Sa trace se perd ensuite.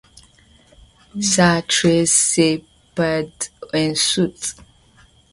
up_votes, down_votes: 2, 0